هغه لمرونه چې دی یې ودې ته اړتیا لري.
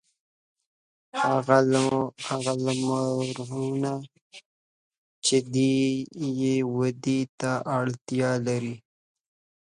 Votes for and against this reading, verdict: 0, 2, rejected